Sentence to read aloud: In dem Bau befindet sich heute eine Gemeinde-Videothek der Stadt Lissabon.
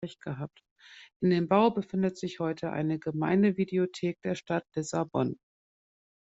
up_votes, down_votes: 1, 2